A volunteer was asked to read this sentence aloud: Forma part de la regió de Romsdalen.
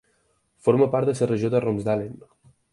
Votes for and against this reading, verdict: 0, 4, rejected